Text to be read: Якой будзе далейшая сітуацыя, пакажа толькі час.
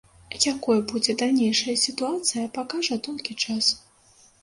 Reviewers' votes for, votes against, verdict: 0, 2, rejected